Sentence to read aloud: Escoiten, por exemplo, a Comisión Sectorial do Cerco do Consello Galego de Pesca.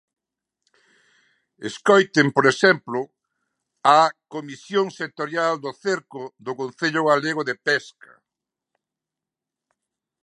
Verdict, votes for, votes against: rejected, 14, 15